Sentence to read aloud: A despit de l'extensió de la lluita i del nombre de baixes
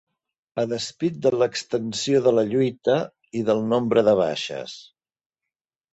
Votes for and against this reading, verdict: 2, 0, accepted